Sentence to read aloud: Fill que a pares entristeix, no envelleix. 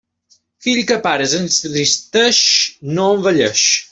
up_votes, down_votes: 0, 2